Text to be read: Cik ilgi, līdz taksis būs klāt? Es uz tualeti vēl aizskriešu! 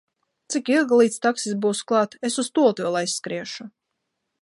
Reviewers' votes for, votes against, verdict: 2, 0, accepted